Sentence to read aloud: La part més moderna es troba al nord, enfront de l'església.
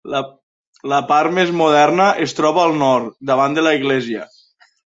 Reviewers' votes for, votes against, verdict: 1, 2, rejected